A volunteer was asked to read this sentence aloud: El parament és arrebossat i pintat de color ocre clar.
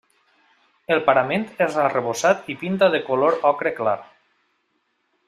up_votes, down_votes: 0, 2